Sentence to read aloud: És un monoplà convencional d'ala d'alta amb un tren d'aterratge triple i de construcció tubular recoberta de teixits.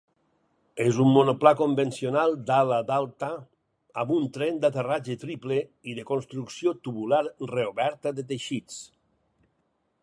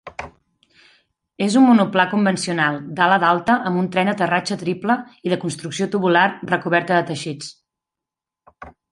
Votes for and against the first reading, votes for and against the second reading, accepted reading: 2, 4, 2, 0, second